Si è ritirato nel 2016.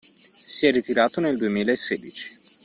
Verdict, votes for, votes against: rejected, 0, 2